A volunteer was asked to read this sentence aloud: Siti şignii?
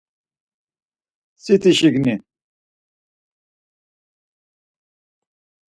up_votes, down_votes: 0, 4